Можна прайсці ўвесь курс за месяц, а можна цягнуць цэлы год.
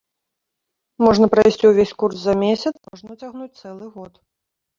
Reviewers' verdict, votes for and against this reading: rejected, 0, 2